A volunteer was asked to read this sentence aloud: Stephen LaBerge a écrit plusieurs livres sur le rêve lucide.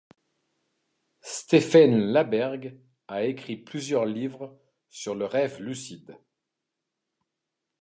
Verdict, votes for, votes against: accepted, 2, 0